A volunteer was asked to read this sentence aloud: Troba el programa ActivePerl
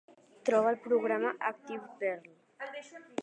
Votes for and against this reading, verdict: 2, 0, accepted